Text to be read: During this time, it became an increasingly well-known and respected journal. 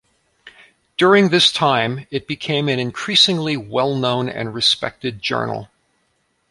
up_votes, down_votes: 2, 0